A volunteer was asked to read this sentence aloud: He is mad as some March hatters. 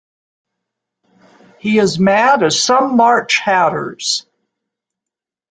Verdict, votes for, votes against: accepted, 2, 0